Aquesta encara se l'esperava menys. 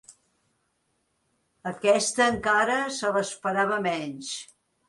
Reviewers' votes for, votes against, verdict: 4, 0, accepted